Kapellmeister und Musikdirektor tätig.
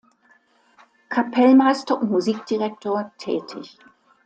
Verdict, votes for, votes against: accepted, 2, 1